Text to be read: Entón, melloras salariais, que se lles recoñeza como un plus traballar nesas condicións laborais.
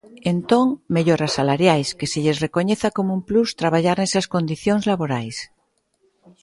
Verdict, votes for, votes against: accepted, 2, 0